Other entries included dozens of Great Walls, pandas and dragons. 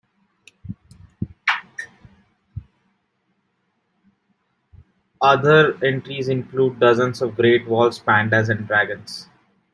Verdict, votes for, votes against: accepted, 2, 1